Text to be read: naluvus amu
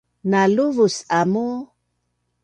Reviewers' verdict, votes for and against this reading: accepted, 2, 0